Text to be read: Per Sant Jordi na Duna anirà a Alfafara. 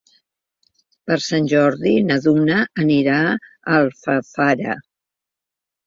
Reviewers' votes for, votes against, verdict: 3, 1, accepted